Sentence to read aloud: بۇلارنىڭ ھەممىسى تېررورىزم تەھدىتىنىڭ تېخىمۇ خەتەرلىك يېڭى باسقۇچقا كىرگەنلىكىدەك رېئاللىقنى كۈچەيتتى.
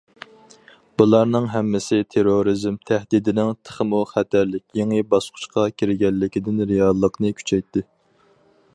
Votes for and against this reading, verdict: 2, 2, rejected